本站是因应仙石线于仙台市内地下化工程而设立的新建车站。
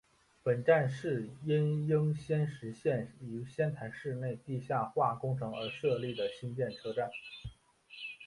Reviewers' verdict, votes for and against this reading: accepted, 3, 1